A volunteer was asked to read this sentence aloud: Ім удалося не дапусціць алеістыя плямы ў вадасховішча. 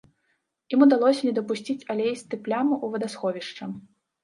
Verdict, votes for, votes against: accepted, 2, 0